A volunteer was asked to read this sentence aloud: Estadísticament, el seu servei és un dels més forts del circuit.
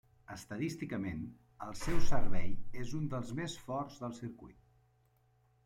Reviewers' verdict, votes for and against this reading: rejected, 0, 2